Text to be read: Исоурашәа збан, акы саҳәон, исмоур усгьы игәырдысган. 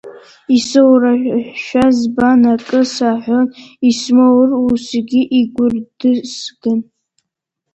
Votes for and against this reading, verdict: 0, 2, rejected